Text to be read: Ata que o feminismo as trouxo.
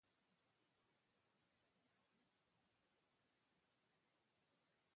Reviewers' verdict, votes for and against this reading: rejected, 0, 2